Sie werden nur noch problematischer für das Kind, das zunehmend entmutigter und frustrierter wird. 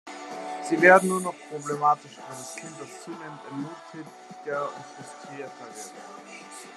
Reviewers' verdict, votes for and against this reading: accepted, 2, 1